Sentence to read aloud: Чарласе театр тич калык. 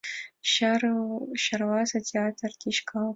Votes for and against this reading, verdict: 1, 2, rejected